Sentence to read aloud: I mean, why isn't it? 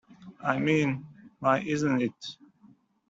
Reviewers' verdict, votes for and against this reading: accepted, 2, 1